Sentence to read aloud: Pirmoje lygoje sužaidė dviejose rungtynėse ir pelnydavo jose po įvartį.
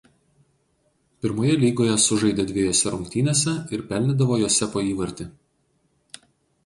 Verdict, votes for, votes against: rejected, 0, 4